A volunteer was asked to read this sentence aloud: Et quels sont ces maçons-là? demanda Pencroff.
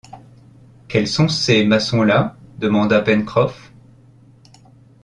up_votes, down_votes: 0, 2